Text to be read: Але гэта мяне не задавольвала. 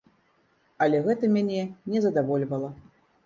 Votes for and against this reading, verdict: 2, 0, accepted